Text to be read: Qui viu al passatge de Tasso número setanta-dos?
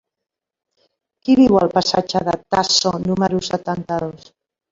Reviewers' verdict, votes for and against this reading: accepted, 3, 0